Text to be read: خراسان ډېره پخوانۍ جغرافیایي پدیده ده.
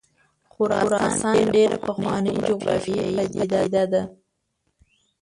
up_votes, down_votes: 0, 2